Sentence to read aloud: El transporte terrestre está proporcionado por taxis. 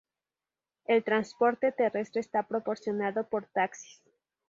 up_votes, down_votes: 2, 4